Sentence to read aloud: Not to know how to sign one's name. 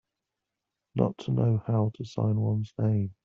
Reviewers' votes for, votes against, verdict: 2, 0, accepted